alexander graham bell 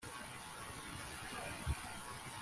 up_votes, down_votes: 0, 2